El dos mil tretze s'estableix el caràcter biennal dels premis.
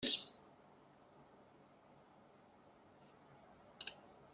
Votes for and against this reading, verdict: 0, 2, rejected